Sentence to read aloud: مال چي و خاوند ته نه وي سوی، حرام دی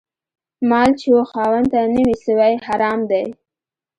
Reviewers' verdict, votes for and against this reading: accepted, 2, 1